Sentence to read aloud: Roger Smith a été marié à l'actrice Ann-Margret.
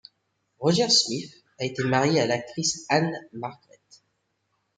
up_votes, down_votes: 2, 0